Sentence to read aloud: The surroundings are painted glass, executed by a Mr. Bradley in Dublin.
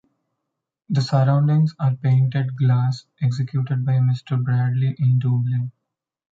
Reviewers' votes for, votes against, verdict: 0, 2, rejected